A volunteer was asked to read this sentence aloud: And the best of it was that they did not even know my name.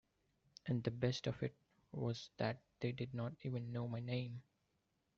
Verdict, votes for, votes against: accepted, 3, 2